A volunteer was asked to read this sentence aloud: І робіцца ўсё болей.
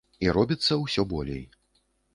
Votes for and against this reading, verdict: 1, 2, rejected